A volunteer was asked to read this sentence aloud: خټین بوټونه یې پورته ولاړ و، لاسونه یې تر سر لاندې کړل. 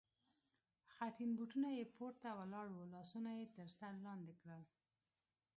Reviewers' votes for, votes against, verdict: 1, 2, rejected